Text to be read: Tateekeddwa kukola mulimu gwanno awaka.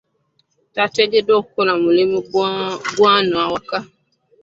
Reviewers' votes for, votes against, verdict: 0, 2, rejected